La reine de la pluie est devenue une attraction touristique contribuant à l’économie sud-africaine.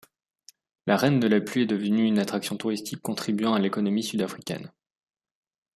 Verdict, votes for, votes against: accepted, 2, 0